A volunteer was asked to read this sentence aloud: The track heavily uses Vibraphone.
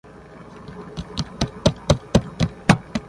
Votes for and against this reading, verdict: 0, 2, rejected